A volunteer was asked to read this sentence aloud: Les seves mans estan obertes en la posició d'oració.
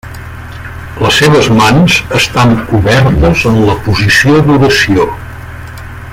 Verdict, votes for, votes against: rejected, 1, 2